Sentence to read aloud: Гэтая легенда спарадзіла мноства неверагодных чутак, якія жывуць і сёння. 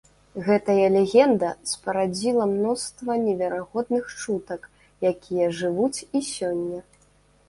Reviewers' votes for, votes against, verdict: 2, 0, accepted